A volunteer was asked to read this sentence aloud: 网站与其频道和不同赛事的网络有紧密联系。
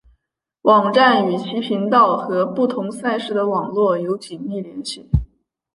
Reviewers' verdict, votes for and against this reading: accepted, 2, 1